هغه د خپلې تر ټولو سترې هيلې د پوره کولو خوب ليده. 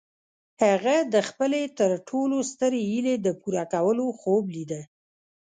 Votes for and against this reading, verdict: 1, 2, rejected